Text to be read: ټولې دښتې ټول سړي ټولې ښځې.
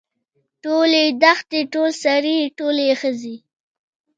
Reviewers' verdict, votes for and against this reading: accepted, 2, 0